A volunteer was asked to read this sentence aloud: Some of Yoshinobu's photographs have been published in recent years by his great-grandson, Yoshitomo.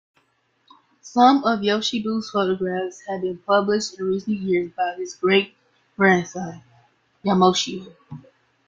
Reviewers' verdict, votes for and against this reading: rejected, 0, 2